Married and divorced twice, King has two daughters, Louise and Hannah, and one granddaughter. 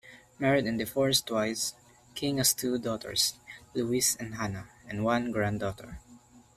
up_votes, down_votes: 2, 0